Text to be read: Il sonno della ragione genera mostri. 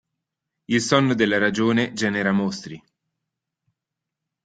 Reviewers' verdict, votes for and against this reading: accepted, 2, 0